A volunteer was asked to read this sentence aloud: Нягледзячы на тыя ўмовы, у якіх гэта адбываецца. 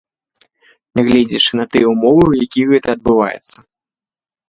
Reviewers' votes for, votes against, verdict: 3, 0, accepted